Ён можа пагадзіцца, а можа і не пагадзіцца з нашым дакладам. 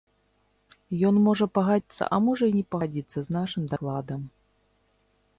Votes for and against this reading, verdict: 0, 2, rejected